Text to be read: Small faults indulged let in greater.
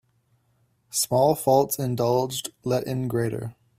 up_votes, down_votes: 2, 0